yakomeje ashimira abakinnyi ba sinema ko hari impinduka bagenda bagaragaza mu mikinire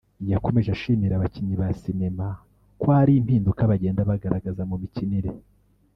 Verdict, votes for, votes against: rejected, 0, 2